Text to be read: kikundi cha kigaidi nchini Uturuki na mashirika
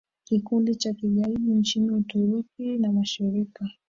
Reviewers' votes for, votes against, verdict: 0, 2, rejected